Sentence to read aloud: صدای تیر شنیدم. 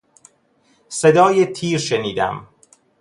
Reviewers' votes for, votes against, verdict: 2, 0, accepted